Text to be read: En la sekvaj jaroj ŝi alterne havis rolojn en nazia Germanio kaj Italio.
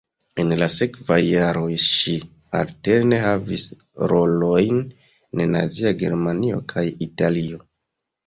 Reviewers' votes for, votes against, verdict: 0, 2, rejected